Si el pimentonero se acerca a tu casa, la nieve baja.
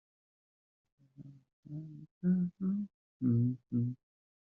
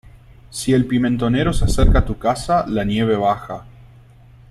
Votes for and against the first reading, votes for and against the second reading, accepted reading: 0, 2, 2, 0, second